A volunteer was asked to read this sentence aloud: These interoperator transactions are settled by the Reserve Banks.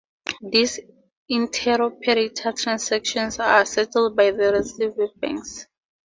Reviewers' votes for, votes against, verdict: 2, 2, rejected